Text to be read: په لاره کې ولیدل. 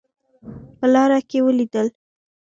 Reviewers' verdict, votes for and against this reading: accepted, 2, 1